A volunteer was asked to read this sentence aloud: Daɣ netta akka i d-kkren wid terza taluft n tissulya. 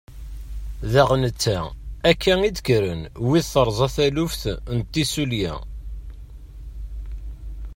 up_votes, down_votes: 2, 0